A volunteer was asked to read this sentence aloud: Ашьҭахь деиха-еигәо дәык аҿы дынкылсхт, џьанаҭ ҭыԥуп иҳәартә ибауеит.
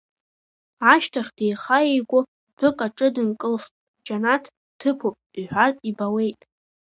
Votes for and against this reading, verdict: 2, 1, accepted